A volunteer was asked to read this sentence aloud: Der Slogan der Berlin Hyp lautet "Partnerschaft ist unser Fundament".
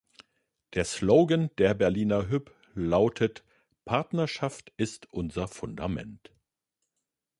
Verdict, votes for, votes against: rejected, 1, 2